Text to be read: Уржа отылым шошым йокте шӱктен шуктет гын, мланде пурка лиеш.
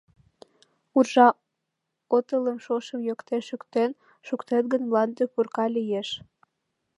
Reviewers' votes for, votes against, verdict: 1, 2, rejected